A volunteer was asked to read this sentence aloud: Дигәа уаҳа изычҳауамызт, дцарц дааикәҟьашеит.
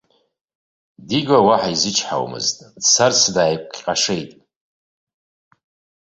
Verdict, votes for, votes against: rejected, 1, 2